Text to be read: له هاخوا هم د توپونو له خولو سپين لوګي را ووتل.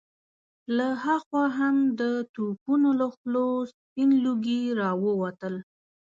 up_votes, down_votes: 2, 0